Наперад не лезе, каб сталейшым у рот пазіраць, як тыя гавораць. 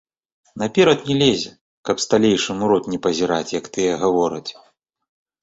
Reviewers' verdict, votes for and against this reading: rejected, 1, 2